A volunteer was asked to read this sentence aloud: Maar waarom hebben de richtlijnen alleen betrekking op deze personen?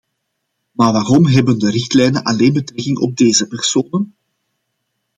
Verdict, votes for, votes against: accepted, 2, 0